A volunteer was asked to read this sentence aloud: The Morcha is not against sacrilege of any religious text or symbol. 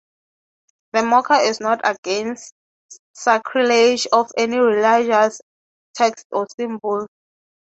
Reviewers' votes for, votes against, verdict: 6, 3, accepted